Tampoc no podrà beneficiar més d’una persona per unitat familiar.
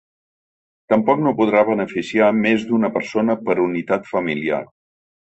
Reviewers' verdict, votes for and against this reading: accepted, 2, 0